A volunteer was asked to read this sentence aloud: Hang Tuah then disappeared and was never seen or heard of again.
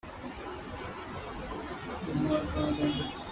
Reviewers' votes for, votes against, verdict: 0, 2, rejected